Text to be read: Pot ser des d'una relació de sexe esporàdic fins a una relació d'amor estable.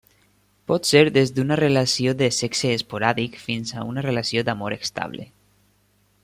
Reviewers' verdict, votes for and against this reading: accepted, 3, 0